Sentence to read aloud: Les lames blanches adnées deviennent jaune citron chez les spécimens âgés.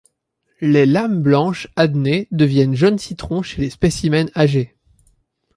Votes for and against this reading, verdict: 2, 0, accepted